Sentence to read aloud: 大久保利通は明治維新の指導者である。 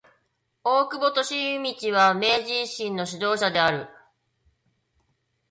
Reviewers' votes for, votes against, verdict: 1, 2, rejected